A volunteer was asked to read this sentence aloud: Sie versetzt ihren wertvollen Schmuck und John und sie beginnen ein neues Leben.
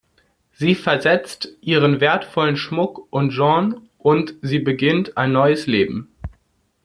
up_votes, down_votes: 0, 2